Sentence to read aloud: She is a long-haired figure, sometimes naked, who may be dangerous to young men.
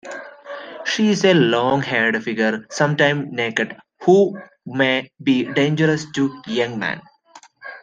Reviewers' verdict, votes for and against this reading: accepted, 2, 1